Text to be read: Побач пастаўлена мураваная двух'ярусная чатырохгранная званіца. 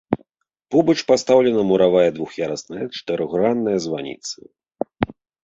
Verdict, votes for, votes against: rejected, 0, 3